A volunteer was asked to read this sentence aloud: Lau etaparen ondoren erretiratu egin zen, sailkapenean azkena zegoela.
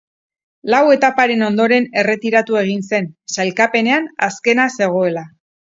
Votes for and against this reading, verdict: 6, 0, accepted